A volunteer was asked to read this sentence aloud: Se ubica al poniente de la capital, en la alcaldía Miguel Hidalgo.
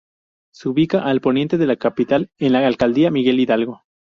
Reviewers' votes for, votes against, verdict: 0, 2, rejected